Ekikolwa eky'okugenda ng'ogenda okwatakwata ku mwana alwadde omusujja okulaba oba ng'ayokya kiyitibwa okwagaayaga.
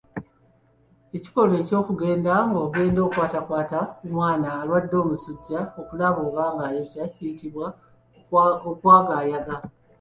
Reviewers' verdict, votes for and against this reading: accepted, 2, 1